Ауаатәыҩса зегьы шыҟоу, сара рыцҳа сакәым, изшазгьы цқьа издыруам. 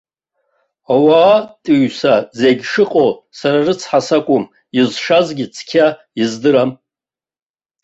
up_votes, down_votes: 2, 0